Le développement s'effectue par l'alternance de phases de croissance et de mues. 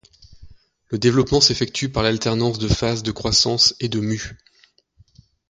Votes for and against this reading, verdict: 2, 0, accepted